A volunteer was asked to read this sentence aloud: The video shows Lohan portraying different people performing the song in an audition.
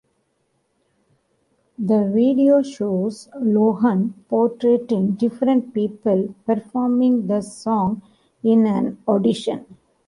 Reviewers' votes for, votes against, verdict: 1, 2, rejected